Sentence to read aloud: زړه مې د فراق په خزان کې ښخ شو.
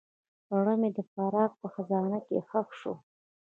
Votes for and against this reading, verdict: 2, 0, accepted